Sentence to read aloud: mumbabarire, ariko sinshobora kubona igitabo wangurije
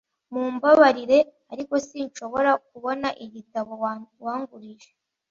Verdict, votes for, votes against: rejected, 1, 2